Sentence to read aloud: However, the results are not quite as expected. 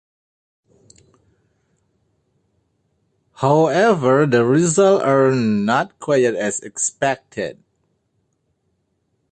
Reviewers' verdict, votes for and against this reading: rejected, 2, 3